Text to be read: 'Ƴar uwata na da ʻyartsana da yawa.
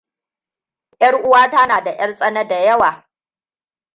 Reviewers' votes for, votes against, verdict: 2, 0, accepted